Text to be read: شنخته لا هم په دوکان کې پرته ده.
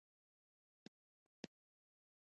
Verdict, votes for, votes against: rejected, 1, 2